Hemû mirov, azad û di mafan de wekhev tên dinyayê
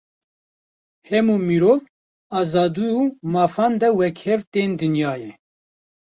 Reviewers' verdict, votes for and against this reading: rejected, 1, 2